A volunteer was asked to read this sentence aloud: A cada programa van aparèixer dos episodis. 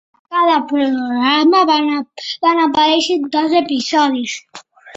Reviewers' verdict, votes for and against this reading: rejected, 1, 3